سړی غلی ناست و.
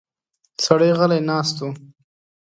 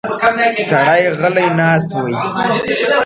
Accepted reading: first